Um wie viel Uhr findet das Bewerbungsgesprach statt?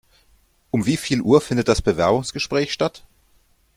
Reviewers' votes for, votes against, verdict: 1, 2, rejected